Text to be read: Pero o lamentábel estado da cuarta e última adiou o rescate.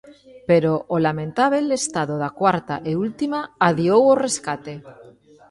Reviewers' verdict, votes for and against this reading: accepted, 2, 1